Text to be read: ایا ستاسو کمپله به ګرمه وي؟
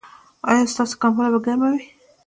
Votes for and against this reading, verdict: 1, 2, rejected